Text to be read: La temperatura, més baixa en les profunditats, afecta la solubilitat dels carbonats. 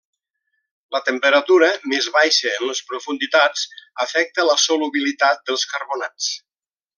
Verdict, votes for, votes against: rejected, 1, 2